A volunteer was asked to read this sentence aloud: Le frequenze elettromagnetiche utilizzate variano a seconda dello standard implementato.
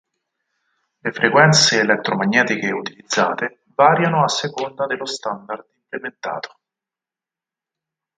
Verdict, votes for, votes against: rejected, 2, 4